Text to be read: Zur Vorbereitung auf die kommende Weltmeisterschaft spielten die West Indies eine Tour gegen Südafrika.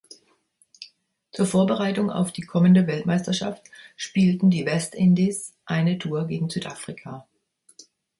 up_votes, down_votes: 2, 0